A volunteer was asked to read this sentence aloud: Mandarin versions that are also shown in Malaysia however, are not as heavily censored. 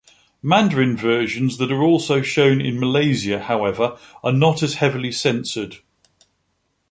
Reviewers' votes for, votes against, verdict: 2, 0, accepted